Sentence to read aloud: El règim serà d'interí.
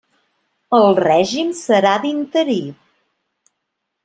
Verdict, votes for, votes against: accepted, 2, 0